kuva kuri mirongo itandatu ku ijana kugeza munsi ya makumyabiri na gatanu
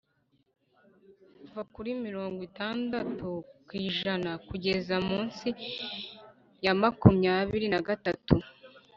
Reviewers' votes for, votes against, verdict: 1, 2, rejected